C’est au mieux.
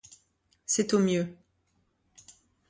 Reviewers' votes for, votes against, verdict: 2, 0, accepted